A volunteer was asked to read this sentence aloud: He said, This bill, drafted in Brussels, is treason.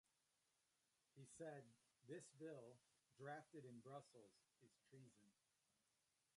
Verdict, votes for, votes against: rejected, 0, 2